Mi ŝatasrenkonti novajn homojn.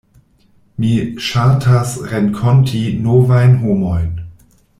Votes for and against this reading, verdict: 0, 2, rejected